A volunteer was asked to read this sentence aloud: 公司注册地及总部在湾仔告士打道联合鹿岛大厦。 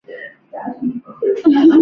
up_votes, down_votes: 3, 0